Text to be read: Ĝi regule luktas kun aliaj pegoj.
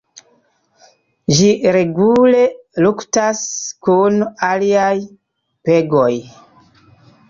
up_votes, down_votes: 2, 0